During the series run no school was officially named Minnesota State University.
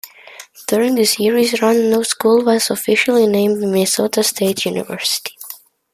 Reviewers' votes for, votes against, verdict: 2, 0, accepted